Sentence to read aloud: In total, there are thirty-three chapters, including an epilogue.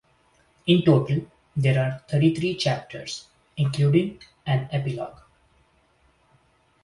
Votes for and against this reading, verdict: 2, 0, accepted